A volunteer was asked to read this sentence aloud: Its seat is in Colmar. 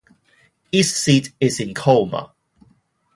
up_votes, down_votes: 0, 2